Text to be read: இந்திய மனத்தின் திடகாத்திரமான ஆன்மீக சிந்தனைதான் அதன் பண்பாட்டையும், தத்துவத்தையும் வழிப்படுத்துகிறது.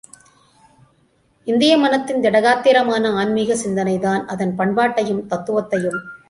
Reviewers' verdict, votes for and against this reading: rejected, 0, 2